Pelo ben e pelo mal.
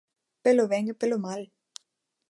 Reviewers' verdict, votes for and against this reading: accepted, 2, 0